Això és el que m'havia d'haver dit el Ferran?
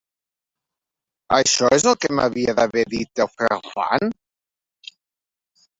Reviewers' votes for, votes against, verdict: 1, 2, rejected